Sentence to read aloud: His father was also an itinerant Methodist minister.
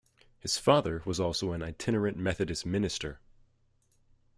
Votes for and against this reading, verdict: 2, 1, accepted